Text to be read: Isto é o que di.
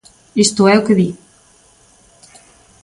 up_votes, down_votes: 4, 0